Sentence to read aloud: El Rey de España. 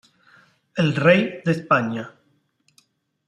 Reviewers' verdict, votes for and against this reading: accepted, 2, 1